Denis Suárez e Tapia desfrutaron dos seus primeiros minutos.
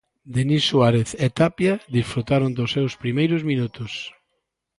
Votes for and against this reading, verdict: 1, 2, rejected